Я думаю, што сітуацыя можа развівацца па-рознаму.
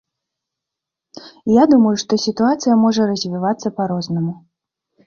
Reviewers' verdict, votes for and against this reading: accepted, 2, 0